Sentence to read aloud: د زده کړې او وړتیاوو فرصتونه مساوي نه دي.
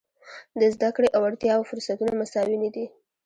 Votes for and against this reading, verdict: 1, 2, rejected